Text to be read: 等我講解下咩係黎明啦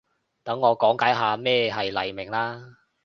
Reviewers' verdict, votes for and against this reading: accepted, 2, 0